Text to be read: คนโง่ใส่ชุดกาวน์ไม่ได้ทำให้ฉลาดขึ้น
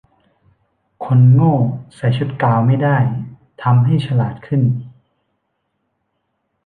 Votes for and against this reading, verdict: 1, 2, rejected